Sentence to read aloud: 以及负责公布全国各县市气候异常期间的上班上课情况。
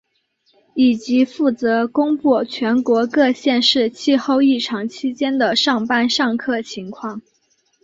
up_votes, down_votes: 2, 0